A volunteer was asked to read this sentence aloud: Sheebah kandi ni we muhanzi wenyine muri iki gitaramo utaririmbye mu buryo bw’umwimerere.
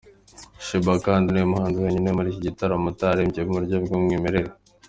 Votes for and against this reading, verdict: 3, 0, accepted